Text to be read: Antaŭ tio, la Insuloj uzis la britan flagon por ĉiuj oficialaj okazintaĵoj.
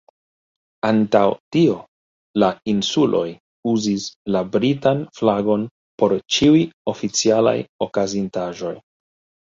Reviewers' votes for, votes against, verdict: 2, 1, accepted